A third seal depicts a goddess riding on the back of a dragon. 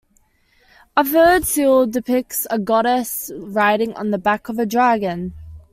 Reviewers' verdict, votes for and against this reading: accepted, 2, 0